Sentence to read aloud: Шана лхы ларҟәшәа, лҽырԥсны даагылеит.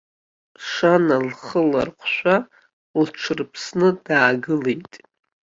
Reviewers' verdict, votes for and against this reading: accepted, 2, 0